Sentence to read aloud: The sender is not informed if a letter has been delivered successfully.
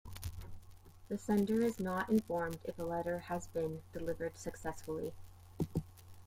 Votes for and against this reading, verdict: 2, 1, accepted